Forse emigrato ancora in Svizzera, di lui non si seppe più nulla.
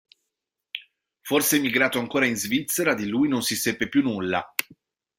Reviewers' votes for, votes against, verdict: 2, 0, accepted